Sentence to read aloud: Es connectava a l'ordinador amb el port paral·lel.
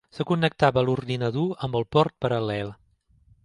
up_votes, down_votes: 2, 3